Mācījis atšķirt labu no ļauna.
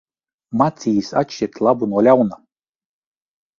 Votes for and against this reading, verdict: 0, 2, rejected